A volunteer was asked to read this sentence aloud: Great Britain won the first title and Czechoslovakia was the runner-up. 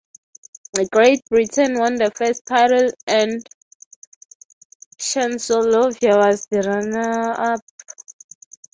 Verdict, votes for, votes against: rejected, 0, 3